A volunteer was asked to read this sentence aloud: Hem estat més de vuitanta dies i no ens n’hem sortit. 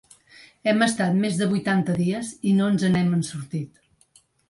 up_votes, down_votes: 1, 2